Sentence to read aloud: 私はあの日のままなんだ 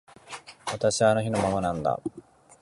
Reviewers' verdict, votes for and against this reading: accepted, 2, 0